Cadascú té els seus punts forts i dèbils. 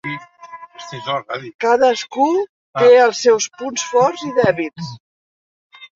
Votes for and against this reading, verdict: 1, 3, rejected